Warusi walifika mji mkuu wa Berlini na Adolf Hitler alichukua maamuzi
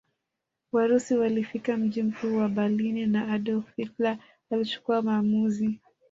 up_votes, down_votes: 2, 1